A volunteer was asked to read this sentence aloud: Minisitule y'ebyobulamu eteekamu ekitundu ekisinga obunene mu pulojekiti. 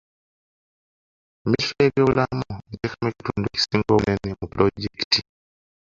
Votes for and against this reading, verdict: 0, 3, rejected